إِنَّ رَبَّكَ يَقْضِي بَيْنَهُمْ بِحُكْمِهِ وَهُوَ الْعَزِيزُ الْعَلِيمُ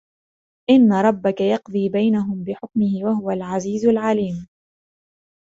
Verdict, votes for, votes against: accepted, 2, 1